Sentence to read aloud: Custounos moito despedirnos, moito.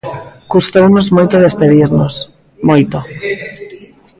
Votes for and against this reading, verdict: 0, 2, rejected